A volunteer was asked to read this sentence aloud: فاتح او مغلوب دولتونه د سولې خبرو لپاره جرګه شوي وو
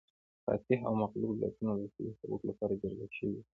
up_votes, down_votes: 1, 2